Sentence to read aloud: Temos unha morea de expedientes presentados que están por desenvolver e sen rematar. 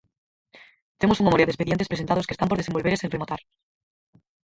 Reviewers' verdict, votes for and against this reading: rejected, 0, 4